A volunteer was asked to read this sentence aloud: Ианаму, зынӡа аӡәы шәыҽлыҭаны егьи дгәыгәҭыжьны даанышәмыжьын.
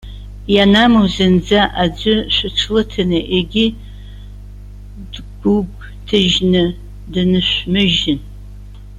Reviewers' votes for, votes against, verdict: 0, 2, rejected